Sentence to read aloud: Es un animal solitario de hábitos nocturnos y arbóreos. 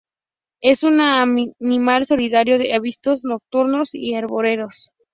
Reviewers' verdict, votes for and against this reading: rejected, 0, 4